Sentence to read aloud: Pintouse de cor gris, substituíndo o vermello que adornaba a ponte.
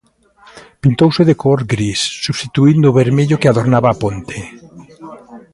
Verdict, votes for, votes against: accepted, 2, 0